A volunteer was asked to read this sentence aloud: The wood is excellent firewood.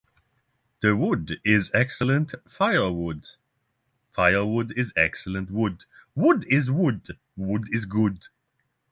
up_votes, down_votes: 3, 6